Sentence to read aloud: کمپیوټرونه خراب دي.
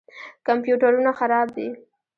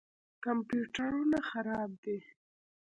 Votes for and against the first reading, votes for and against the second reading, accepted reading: 1, 2, 2, 0, second